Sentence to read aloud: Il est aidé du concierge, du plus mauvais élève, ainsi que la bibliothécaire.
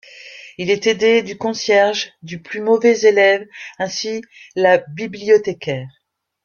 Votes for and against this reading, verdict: 0, 2, rejected